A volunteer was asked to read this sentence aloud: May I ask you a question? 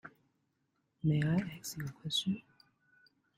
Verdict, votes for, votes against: rejected, 1, 2